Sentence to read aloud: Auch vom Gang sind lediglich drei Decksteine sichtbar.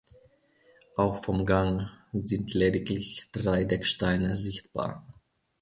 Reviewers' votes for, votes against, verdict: 2, 0, accepted